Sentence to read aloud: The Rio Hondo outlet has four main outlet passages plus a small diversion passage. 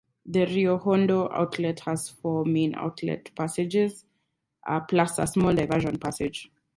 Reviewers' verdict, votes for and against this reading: rejected, 0, 4